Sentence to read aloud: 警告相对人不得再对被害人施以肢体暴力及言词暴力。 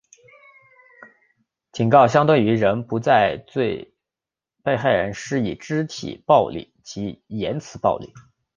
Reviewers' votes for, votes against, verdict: 3, 0, accepted